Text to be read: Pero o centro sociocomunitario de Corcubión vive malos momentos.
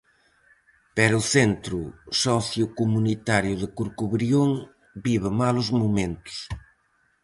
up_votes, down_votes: 0, 4